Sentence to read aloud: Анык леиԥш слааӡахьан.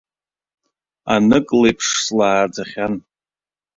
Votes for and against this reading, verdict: 2, 0, accepted